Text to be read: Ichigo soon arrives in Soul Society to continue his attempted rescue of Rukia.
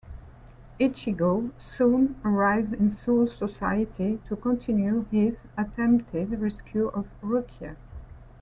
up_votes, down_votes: 2, 1